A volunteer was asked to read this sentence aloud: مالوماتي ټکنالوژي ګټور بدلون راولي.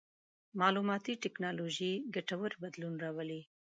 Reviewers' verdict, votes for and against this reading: accepted, 2, 0